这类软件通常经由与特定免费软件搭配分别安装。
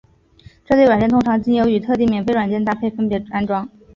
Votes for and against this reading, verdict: 3, 0, accepted